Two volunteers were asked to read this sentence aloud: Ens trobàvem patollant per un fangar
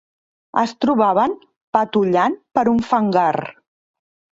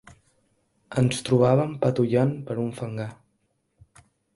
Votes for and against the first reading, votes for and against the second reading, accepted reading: 0, 3, 2, 0, second